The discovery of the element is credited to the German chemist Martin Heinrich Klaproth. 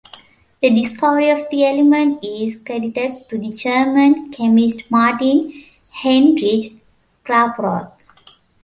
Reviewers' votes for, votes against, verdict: 2, 0, accepted